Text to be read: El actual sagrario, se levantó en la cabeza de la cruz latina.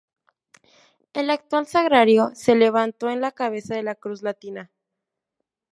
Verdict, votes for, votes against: rejected, 0, 2